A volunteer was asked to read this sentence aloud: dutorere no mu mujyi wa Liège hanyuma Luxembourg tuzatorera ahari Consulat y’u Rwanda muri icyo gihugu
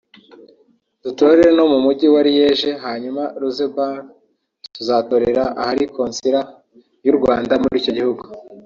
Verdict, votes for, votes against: rejected, 1, 2